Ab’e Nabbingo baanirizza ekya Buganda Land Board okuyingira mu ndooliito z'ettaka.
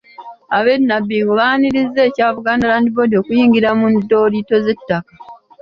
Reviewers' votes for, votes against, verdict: 2, 0, accepted